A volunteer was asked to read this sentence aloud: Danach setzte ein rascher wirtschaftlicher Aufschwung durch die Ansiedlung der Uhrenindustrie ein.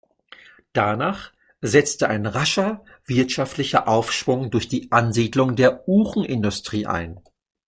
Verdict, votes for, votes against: accepted, 2, 0